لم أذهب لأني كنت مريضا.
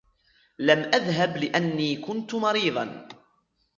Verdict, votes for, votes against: accepted, 2, 0